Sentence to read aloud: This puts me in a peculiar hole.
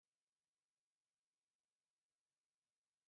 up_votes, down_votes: 0, 2